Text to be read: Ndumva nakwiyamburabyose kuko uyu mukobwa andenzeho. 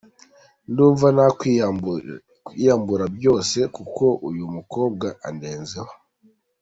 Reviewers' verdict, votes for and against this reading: rejected, 1, 2